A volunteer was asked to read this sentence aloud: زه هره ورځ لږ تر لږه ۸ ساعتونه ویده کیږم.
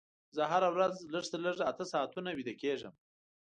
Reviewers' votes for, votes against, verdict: 0, 2, rejected